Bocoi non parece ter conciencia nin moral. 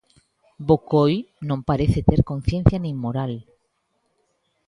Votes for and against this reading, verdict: 2, 0, accepted